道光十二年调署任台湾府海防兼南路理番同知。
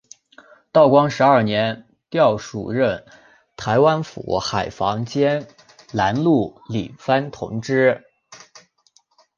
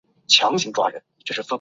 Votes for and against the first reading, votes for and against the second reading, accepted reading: 4, 0, 2, 6, first